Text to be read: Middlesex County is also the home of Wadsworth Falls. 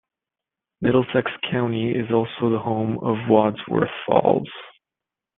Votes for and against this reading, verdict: 2, 0, accepted